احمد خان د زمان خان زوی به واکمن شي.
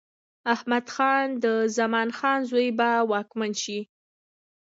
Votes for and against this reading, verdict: 2, 0, accepted